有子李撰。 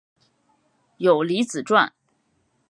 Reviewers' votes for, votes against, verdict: 0, 2, rejected